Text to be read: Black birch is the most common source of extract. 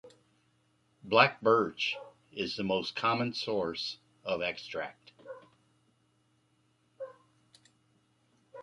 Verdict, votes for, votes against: accepted, 2, 0